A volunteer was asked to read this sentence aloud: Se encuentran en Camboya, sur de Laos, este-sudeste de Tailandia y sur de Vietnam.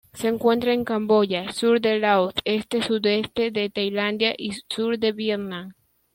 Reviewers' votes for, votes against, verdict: 1, 2, rejected